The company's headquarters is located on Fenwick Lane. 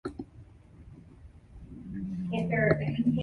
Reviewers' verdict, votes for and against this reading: rejected, 0, 2